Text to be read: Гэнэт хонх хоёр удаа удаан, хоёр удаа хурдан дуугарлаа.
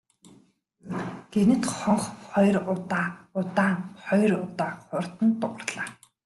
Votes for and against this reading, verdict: 2, 0, accepted